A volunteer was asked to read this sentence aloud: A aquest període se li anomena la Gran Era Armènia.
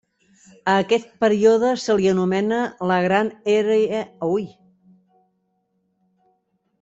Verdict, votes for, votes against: rejected, 0, 2